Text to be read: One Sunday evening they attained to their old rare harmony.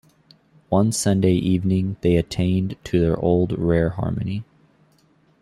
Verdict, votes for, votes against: accepted, 2, 0